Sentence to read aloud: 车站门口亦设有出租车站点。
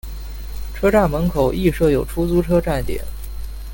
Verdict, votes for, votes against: accepted, 2, 0